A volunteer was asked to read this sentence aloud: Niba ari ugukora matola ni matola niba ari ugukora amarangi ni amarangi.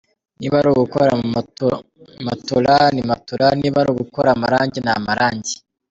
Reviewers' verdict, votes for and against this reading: rejected, 2, 3